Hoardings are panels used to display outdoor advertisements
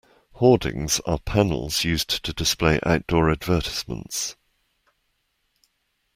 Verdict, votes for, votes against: accepted, 2, 1